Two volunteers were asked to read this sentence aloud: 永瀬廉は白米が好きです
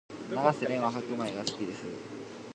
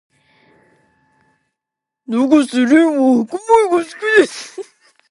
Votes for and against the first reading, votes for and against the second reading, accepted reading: 2, 0, 1, 2, first